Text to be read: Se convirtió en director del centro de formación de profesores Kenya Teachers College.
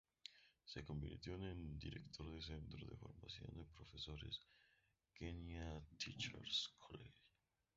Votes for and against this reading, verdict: 0, 2, rejected